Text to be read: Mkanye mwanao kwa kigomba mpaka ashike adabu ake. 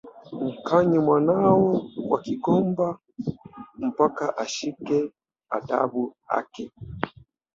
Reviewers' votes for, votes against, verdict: 2, 0, accepted